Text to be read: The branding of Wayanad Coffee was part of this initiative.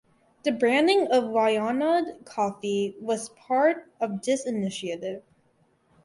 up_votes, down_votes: 2, 4